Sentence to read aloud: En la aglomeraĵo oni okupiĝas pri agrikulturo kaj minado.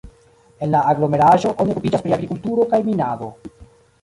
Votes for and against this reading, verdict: 1, 2, rejected